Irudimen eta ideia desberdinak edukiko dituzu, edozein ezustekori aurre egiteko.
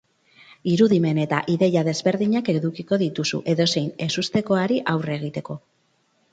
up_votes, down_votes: 0, 4